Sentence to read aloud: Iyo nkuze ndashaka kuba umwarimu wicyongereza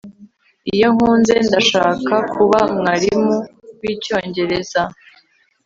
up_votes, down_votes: 0, 2